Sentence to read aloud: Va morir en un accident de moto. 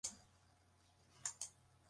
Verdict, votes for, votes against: rejected, 0, 3